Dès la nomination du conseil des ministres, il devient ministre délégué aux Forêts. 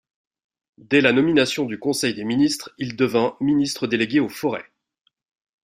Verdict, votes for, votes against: rejected, 0, 2